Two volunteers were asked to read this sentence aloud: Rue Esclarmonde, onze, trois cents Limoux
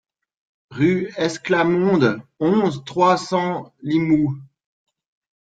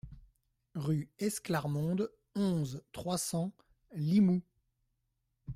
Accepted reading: second